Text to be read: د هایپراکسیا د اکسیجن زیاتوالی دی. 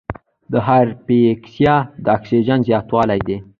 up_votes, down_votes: 1, 2